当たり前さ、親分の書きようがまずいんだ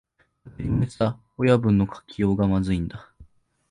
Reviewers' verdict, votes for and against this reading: accepted, 2, 1